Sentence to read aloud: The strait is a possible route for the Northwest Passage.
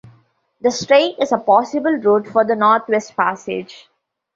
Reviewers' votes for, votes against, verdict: 1, 2, rejected